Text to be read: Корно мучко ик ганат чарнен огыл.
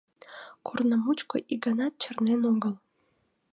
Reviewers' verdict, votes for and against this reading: accepted, 2, 0